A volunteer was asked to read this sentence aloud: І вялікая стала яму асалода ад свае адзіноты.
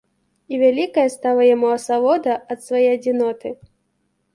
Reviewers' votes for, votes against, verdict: 2, 0, accepted